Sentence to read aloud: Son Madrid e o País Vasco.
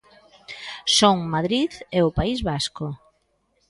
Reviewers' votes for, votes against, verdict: 2, 0, accepted